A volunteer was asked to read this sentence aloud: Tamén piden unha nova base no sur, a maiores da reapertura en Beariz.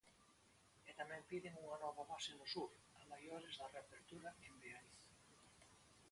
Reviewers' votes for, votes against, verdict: 0, 2, rejected